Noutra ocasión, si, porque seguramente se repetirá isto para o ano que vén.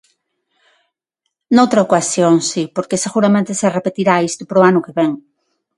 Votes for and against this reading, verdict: 6, 0, accepted